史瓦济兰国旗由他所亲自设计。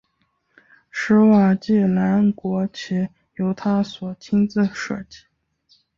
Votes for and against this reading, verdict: 2, 0, accepted